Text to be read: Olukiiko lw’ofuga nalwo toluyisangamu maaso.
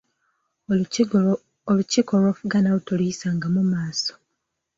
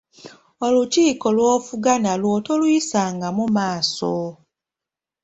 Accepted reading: second